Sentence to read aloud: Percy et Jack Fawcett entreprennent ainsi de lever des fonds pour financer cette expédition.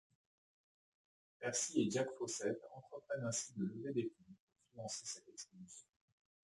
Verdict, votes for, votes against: rejected, 0, 2